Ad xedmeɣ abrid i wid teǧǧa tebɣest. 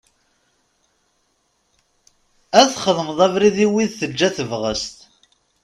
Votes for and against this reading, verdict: 1, 2, rejected